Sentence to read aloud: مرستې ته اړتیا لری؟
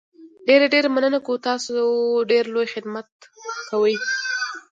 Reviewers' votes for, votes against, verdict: 0, 2, rejected